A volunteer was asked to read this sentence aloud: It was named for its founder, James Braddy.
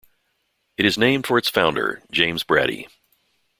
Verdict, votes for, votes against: rejected, 0, 2